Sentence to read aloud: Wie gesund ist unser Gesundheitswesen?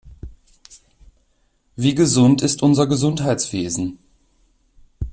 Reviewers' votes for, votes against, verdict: 2, 0, accepted